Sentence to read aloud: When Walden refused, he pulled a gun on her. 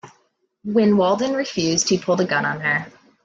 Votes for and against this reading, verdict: 2, 0, accepted